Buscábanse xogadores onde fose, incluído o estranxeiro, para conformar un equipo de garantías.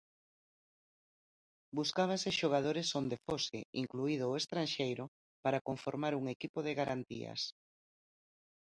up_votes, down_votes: 1, 2